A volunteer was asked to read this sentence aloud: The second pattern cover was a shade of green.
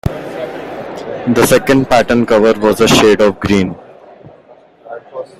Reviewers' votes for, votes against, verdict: 1, 2, rejected